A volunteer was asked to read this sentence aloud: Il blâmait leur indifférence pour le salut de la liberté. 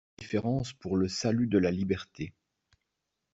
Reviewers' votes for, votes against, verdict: 0, 2, rejected